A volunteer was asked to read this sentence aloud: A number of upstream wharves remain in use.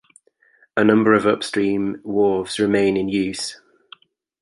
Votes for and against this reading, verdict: 2, 0, accepted